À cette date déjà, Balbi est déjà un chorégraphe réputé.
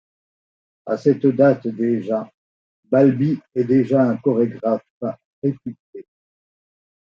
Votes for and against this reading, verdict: 1, 2, rejected